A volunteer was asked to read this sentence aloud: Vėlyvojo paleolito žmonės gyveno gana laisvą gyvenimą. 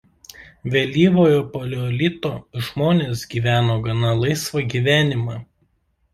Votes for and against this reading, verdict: 2, 0, accepted